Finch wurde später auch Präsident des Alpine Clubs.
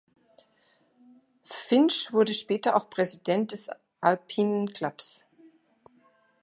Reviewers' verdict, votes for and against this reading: accepted, 2, 1